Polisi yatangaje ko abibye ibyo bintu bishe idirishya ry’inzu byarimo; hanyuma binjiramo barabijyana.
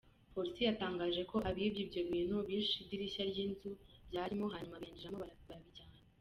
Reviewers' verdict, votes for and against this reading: rejected, 0, 2